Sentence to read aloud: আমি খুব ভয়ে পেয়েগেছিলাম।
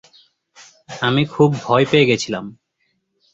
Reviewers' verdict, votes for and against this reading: accepted, 2, 0